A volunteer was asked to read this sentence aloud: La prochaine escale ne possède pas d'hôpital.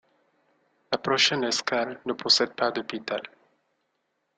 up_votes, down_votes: 2, 0